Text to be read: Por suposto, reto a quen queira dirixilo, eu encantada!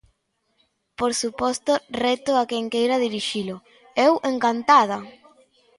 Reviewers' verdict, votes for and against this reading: accepted, 2, 0